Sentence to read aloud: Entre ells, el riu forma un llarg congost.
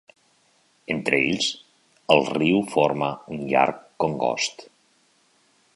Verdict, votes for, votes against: accepted, 3, 0